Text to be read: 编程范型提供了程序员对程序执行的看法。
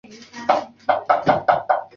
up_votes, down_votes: 0, 3